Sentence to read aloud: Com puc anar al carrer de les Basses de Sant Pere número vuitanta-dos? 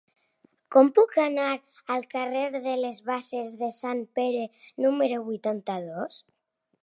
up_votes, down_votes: 0, 2